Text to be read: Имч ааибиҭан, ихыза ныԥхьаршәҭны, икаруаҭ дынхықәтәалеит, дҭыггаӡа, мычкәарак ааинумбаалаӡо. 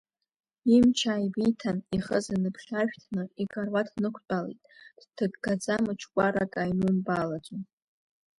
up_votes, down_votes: 1, 2